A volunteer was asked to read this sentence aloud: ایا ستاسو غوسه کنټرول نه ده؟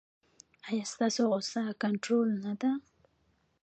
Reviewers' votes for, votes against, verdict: 0, 2, rejected